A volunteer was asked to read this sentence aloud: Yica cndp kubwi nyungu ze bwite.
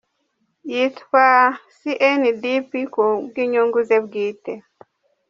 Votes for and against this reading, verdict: 1, 2, rejected